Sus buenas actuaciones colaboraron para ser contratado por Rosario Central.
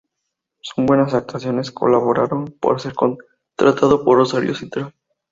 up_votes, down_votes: 2, 2